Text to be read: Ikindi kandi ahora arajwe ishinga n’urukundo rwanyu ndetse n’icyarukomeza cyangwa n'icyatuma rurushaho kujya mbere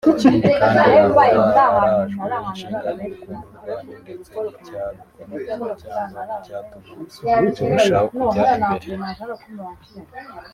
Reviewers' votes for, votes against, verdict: 0, 2, rejected